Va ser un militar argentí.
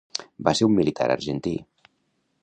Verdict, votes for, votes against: accepted, 2, 0